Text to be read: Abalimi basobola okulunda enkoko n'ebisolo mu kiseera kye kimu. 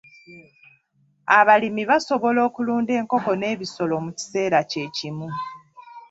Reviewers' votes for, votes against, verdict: 1, 2, rejected